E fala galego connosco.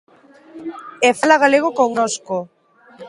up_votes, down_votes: 2, 0